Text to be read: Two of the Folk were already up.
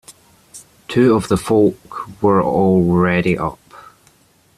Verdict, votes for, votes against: accepted, 2, 0